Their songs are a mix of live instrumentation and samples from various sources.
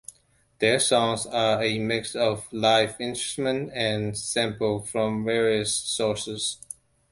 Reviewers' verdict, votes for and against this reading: rejected, 0, 2